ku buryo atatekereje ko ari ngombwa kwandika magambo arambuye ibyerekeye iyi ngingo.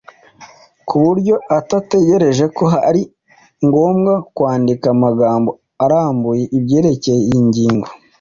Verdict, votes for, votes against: accepted, 2, 0